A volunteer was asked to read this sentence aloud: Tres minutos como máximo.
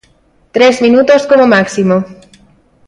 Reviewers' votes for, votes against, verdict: 2, 0, accepted